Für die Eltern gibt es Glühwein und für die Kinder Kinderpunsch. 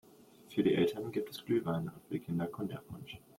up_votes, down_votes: 0, 3